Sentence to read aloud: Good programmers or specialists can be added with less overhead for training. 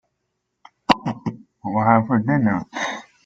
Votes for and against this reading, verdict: 0, 2, rejected